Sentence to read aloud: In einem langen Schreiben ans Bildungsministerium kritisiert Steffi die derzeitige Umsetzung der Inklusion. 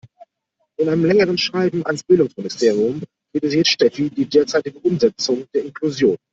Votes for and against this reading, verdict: 0, 2, rejected